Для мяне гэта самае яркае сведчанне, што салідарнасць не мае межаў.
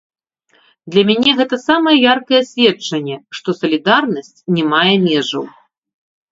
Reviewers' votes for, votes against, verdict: 0, 2, rejected